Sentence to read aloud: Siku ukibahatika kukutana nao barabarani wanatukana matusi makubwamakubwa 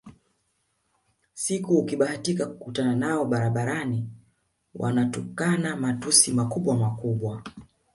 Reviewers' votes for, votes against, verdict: 1, 2, rejected